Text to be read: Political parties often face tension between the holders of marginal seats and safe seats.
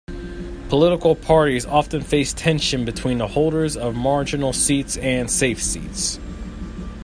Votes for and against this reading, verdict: 2, 0, accepted